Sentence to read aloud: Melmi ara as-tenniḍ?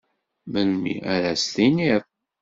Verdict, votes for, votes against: rejected, 0, 2